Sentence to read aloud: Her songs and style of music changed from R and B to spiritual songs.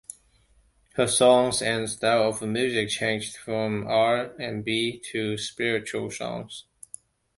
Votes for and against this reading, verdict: 2, 0, accepted